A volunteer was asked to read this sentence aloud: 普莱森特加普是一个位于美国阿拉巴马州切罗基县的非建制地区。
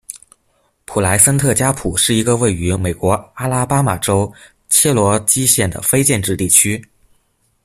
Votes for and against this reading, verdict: 2, 0, accepted